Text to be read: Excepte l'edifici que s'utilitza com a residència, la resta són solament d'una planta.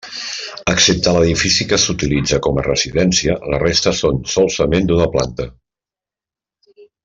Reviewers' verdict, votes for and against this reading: rejected, 0, 2